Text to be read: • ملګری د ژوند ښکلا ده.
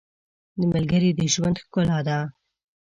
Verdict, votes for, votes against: accepted, 2, 0